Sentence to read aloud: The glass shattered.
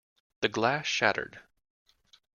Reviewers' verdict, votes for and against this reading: accepted, 3, 0